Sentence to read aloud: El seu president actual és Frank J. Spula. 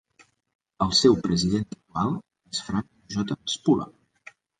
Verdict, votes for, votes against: rejected, 0, 3